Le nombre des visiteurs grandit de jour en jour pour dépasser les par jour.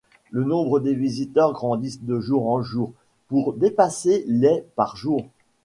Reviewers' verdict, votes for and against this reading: rejected, 1, 2